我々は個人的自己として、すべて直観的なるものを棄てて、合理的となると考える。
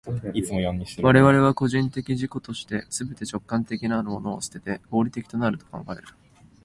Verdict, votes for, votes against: rejected, 0, 2